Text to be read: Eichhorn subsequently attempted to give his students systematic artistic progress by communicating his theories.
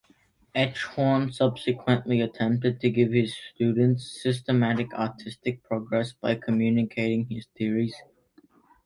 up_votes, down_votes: 2, 0